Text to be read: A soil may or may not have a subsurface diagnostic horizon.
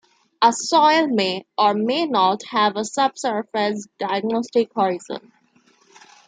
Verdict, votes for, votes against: accepted, 2, 0